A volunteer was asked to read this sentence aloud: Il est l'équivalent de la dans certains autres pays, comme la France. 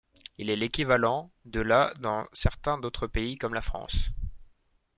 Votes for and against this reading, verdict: 1, 2, rejected